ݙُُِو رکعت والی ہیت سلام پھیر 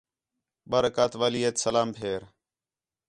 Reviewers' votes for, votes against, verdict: 4, 0, accepted